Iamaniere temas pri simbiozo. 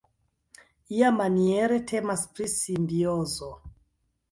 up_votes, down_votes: 1, 2